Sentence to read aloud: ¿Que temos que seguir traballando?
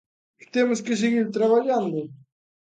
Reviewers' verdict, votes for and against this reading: rejected, 1, 2